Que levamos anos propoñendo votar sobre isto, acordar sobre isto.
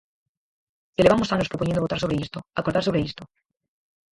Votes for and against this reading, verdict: 0, 4, rejected